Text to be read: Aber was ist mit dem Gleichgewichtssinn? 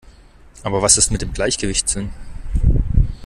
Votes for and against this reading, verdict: 2, 0, accepted